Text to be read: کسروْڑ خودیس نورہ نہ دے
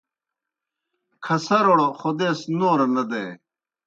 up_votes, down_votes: 0, 2